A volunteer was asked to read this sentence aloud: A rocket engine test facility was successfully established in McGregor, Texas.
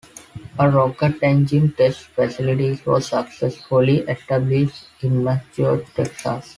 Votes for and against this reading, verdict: 0, 2, rejected